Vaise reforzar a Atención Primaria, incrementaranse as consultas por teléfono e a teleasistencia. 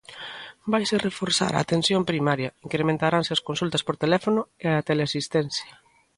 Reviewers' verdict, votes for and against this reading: accepted, 2, 1